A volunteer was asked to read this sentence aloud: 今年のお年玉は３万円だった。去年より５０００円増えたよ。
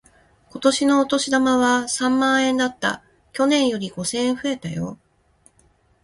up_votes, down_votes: 0, 2